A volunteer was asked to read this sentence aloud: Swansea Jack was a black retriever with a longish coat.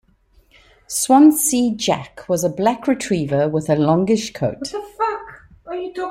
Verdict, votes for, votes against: rejected, 0, 2